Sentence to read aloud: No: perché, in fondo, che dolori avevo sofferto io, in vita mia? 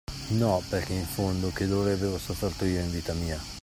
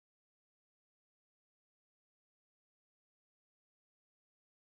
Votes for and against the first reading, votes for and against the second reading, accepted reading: 2, 1, 0, 2, first